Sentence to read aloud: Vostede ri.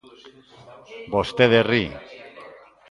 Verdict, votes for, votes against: accepted, 2, 0